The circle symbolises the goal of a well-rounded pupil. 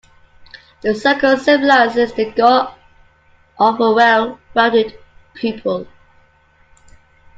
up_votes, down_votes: 0, 2